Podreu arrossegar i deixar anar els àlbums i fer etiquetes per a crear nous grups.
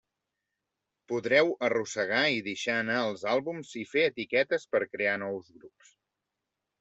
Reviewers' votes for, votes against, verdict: 1, 2, rejected